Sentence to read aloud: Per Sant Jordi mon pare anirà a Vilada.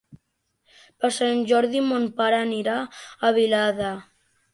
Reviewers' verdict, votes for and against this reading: accepted, 3, 0